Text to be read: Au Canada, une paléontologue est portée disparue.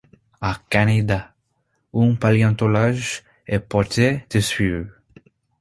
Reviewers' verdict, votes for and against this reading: rejected, 0, 2